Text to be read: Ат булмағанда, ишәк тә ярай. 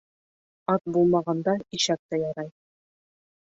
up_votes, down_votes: 5, 0